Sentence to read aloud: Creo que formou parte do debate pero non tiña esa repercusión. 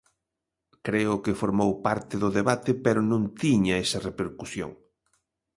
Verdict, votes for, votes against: accepted, 2, 0